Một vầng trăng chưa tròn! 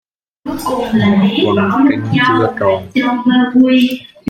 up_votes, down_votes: 0, 2